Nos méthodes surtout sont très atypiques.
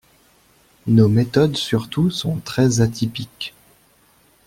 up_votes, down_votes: 2, 0